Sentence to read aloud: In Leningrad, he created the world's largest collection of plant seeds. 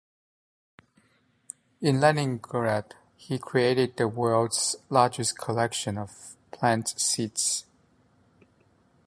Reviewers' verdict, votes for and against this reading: accepted, 2, 0